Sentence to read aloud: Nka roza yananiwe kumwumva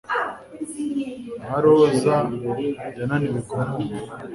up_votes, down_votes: 3, 0